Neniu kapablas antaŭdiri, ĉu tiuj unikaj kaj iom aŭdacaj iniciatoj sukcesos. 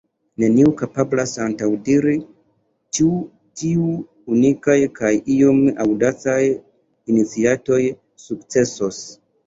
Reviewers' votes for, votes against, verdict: 1, 2, rejected